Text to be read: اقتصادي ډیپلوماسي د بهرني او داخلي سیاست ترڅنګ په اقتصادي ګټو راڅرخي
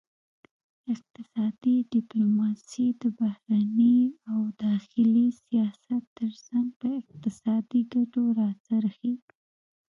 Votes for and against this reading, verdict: 1, 2, rejected